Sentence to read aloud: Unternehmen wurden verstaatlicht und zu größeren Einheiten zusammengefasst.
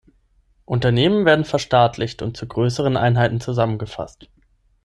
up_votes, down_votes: 0, 6